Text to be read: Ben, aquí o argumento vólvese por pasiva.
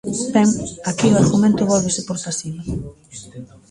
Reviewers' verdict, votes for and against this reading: rejected, 1, 2